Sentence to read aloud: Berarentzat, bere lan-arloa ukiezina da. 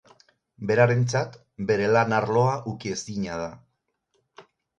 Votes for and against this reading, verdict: 4, 0, accepted